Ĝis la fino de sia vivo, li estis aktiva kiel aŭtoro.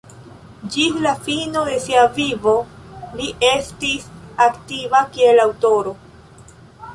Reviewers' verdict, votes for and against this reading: accepted, 2, 0